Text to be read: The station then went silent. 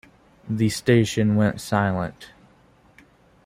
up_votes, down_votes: 1, 2